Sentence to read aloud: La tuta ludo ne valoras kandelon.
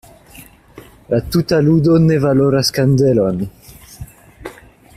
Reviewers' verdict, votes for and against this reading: accepted, 2, 0